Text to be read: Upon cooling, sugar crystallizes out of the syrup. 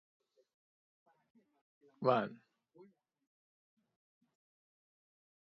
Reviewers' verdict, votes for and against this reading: rejected, 0, 2